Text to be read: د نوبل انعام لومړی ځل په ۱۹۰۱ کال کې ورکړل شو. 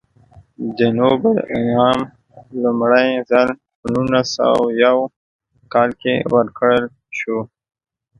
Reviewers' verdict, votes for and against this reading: rejected, 0, 2